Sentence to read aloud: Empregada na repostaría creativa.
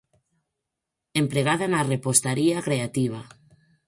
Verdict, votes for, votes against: accepted, 4, 0